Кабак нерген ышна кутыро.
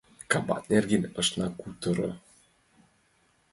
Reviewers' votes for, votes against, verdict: 2, 0, accepted